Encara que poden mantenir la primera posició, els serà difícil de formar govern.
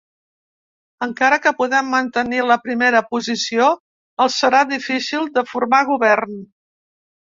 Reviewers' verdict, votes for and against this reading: rejected, 1, 2